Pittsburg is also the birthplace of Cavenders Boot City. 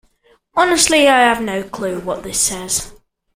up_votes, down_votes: 1, 2